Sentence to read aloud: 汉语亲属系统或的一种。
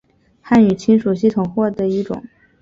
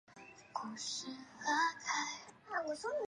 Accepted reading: first